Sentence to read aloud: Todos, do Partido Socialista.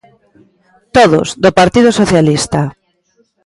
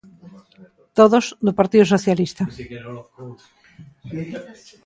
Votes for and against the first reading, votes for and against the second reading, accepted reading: 2, 0, 1, 2, first